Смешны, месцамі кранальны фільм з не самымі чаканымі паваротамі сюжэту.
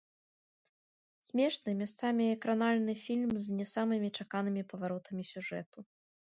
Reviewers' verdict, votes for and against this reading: rejected, 1, 2